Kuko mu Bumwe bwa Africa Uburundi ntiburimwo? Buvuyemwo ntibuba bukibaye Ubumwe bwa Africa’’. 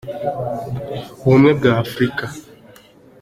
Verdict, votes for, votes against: rejected, 0, 2